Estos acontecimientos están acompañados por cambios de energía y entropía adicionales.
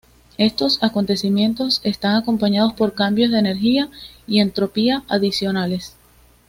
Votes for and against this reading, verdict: 2, 0, accepted